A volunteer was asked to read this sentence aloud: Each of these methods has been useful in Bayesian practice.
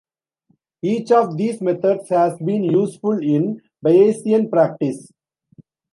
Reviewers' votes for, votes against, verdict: 2, 0, accepted